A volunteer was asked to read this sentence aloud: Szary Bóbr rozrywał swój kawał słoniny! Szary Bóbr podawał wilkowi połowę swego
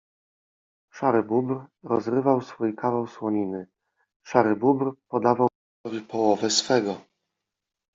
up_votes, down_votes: 1, 2